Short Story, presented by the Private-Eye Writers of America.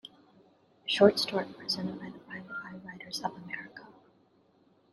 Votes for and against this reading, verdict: 0, 2, rejected